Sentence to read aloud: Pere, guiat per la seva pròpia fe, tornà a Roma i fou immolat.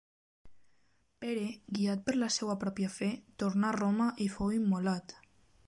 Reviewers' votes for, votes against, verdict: 0, 2, rejected